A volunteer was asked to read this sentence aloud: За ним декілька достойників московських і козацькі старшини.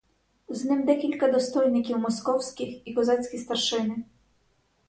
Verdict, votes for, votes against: rejected, 2, 2